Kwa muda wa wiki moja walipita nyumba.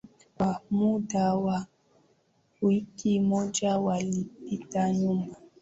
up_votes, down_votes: 5, 4